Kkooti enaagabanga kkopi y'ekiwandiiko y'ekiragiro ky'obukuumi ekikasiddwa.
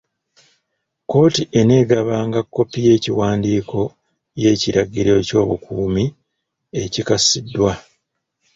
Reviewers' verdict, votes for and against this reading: rejected, 0, 2